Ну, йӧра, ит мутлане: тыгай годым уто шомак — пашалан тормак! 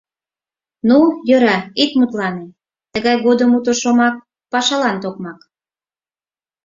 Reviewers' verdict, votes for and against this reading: rejected, 0, 4